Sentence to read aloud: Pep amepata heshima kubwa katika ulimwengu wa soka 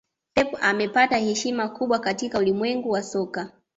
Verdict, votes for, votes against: accepted, 2, 0